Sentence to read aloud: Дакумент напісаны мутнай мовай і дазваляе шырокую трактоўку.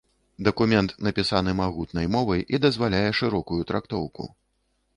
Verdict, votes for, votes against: rejected, 1, 2